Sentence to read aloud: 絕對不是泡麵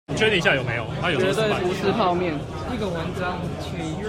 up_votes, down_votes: 1, 2